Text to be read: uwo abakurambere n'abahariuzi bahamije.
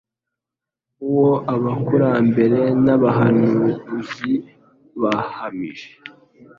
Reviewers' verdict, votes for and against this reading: accepted, 2, 1